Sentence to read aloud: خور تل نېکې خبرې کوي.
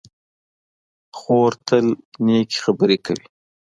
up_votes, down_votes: 3, 0